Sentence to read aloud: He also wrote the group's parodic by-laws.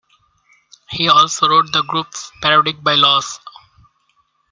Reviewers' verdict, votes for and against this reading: accepted, 2, 0